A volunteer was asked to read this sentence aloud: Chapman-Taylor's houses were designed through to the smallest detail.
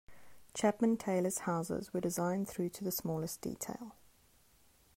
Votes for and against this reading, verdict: 2, 0, accepted